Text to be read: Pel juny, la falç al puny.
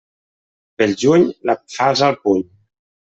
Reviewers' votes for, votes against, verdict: 1, 2, rejected